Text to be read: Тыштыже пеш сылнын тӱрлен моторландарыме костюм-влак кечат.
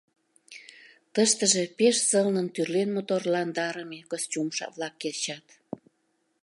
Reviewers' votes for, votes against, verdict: 0, 2, rejected